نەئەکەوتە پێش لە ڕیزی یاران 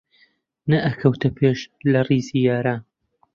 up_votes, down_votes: 1, 2